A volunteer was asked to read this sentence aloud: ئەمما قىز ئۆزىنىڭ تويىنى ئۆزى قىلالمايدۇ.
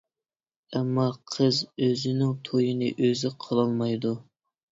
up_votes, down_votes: 2, 0